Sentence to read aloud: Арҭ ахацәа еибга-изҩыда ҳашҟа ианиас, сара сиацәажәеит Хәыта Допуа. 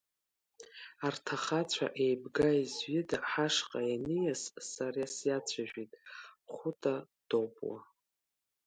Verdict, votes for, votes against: accepted, 3, 0